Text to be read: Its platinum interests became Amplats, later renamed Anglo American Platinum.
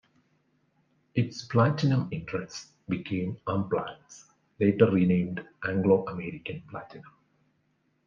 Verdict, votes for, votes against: rejected, 0, 2